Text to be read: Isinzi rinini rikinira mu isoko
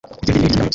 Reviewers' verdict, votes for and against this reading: rejected, 0, 2